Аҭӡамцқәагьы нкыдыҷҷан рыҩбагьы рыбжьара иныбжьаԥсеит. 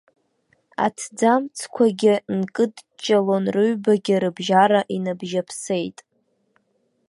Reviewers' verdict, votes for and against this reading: rejected, 0, 2